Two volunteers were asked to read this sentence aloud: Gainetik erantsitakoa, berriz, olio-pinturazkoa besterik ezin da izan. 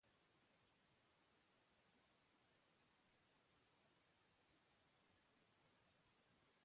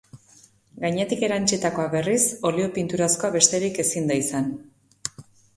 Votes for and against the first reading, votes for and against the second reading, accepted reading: 0, 2, 2, 0, second